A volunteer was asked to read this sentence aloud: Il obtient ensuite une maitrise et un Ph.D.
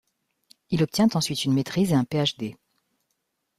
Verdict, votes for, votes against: accepted, 2, 0